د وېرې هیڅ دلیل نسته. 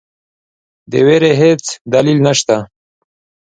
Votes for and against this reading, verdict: 2, 0, accepted